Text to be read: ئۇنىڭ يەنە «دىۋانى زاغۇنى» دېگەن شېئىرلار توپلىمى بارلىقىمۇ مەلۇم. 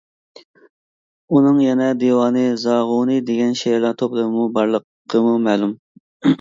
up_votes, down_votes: 1, 2